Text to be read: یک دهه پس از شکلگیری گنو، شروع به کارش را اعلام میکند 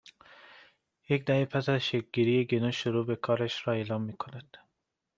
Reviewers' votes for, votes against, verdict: 2, 0, accepted